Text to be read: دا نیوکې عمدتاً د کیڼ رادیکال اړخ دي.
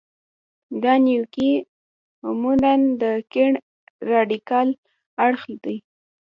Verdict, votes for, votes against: rejected, 1, 2